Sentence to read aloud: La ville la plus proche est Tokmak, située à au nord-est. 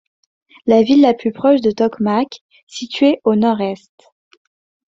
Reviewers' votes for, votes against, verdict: 1, 2, rejected